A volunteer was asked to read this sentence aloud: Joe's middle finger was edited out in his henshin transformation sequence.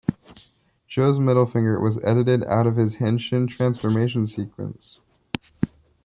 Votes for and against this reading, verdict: 2, 0, accepted